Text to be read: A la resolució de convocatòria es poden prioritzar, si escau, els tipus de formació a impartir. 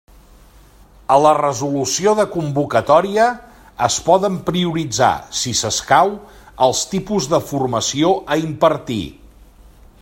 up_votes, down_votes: 0, 2